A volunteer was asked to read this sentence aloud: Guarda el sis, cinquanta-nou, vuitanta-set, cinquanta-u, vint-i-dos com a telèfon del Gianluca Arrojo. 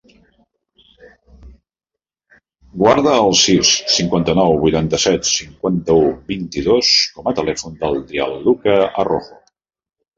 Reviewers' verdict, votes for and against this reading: rejected, 0, 2